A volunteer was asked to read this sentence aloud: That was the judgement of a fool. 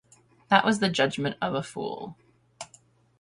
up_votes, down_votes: 0, 5